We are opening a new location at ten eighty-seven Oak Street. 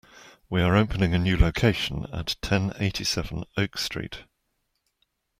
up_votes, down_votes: 2, 0